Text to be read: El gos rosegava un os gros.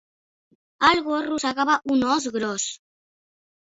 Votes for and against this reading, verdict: 2, 0, accepted